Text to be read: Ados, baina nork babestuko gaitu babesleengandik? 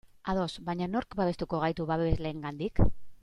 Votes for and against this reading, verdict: 2, 1, accepted